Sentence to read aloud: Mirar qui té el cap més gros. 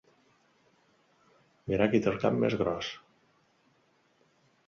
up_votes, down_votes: 2, 0